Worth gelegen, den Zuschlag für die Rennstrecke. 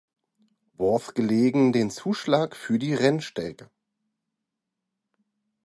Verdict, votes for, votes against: rejected, 0, 2